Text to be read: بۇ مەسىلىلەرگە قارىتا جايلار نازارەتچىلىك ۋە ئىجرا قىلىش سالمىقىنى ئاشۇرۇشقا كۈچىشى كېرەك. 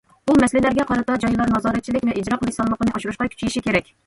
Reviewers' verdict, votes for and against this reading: accepted, 2, 0